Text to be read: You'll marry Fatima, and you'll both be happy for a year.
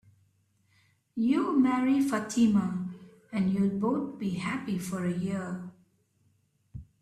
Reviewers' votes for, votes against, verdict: 3, 0, accepted